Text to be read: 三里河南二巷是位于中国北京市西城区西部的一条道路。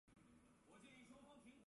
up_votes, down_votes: 0, 2